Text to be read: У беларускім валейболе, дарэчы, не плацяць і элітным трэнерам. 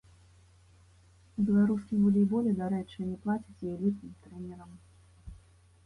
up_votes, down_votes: 1, 2